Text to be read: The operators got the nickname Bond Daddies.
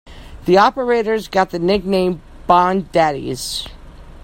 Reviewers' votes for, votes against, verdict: 2, 0, accepted